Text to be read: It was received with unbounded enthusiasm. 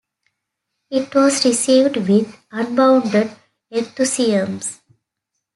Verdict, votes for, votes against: rejected, 1, 2